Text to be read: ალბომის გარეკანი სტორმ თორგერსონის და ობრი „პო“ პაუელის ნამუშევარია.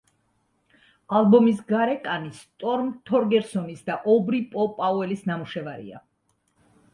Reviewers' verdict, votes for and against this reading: accepted, 2, 0